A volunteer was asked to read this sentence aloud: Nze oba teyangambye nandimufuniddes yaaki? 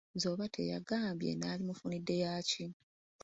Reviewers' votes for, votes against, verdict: 0, 2, rejected